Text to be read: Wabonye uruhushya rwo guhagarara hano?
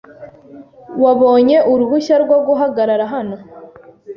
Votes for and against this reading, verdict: 2, 0, accepted